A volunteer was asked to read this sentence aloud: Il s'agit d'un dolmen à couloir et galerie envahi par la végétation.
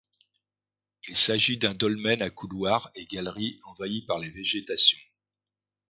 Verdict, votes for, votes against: rejected, 1, 2